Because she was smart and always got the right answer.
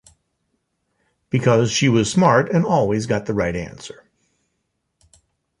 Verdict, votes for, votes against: accepted, 2, 0